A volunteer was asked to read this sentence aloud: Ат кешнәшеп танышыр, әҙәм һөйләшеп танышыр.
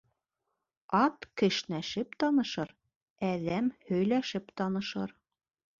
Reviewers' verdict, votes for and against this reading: accepted, 2, 0